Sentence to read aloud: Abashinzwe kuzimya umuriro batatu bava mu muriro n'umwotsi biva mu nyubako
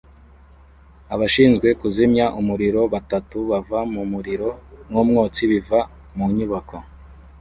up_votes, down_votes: 2, 0